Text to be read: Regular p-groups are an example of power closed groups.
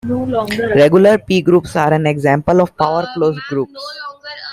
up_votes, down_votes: 0, 2